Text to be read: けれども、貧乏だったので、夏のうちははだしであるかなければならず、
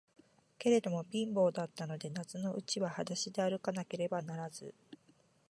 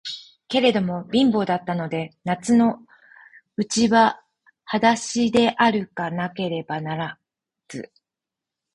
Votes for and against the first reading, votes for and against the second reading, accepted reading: 2, 0, 0, 4, first